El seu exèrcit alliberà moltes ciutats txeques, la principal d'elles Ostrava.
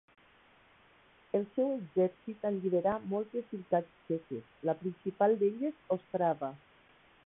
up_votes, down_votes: 1, 2